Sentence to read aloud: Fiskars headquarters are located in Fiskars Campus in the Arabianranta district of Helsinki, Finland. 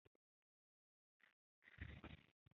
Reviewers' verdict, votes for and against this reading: rejected, 0, 2